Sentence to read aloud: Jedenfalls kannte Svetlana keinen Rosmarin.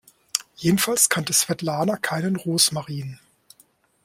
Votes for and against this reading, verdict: 2, 0, accepted